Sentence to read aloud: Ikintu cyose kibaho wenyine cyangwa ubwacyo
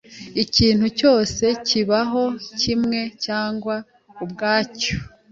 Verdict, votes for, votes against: rejected, 1, 2